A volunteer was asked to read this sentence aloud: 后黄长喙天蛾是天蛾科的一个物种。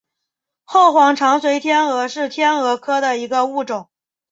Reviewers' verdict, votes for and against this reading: accepted, 2, 0